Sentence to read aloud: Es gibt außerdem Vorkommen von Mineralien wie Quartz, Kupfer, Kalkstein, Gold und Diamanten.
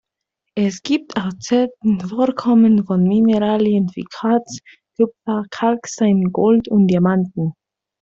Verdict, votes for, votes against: rejected, 0, 2